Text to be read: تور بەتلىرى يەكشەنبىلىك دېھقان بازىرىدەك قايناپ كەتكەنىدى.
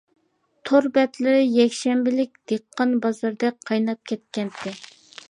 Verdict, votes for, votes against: rejected, 0, 2